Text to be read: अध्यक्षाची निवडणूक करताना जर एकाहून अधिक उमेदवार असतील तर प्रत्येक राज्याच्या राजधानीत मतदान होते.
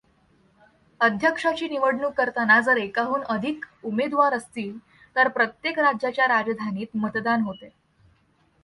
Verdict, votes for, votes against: accepted, 2, 0